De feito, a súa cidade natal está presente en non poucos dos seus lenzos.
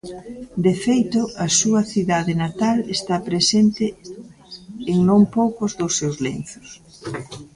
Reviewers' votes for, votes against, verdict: 1, 2, rejected